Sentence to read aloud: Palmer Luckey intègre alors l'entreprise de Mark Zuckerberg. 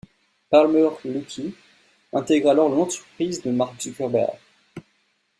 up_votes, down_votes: 1, 2